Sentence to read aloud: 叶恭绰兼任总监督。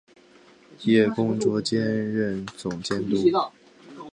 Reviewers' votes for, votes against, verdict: 0, 2, rejected